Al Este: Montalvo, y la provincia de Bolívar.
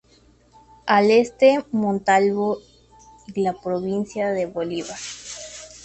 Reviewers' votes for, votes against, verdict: 2, 0, accepted